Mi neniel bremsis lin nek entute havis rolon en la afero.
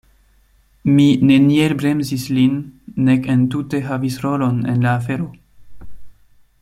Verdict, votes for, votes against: accepted, 2, 0